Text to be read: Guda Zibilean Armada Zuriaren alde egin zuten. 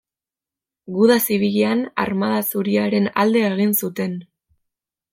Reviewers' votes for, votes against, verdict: 2, 0, accepted